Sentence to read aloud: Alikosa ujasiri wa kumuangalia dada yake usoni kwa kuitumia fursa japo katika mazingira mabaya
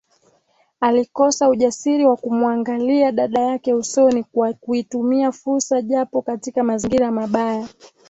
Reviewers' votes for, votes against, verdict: 2, 0, accepted